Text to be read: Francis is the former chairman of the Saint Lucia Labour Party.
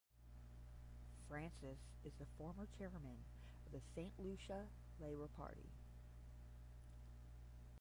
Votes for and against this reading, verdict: 0, 10, rejected